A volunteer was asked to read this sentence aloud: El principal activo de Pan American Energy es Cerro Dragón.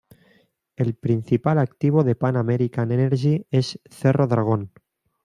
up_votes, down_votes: 2, 0